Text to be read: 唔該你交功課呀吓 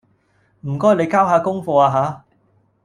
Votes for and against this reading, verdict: 0, 2, rejected